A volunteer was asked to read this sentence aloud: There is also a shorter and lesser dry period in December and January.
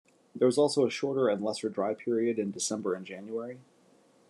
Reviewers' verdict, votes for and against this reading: accepted, 2, 0